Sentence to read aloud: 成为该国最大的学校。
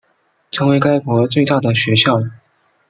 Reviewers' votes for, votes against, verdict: 2, 0, accepted